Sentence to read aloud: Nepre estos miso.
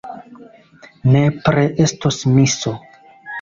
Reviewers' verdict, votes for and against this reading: rejected, 1, 2